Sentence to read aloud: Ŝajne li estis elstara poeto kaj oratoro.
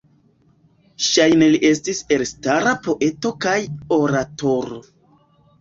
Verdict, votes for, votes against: rejected, 0, 2